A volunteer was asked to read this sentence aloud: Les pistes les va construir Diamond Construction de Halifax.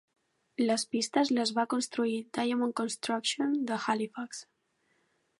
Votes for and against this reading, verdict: 2, 0, accepted